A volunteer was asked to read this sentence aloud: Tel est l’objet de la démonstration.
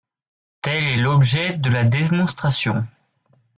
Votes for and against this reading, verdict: 0, 2, rejected